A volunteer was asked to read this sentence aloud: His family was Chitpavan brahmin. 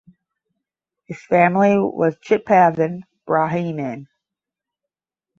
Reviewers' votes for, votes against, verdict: 0, 10, rejected